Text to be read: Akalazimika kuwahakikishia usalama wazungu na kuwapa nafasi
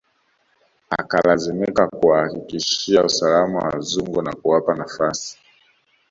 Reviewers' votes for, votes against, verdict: 2, 1, accepted